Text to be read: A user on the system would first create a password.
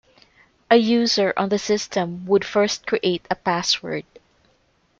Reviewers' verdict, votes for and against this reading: accepted, 2, 0